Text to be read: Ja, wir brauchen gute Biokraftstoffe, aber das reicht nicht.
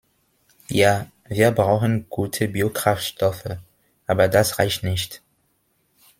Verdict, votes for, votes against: accepted, 2, 1